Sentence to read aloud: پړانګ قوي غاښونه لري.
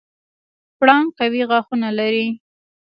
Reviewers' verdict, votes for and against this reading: accepted, 2, 0